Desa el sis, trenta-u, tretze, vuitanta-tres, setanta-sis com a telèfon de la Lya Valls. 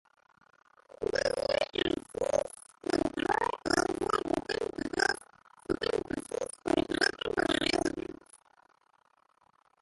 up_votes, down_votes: 0, 2